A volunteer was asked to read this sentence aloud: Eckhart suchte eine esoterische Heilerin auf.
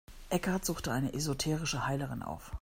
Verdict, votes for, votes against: accepted, 2, 0